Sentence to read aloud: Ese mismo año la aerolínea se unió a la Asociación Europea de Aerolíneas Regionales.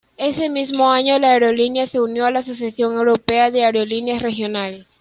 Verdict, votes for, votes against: rejected, 1, 2